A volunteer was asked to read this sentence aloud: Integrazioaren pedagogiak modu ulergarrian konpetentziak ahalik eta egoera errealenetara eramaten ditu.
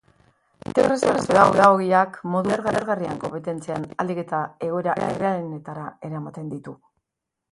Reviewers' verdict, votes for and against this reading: rejected, 0, 2